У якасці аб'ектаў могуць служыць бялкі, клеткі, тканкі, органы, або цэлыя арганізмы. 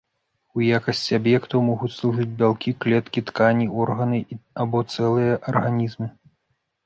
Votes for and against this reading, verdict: 1, 2, rejected